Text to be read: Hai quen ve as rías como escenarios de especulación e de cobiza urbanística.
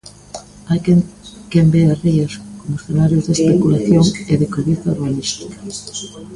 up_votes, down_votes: 0, 2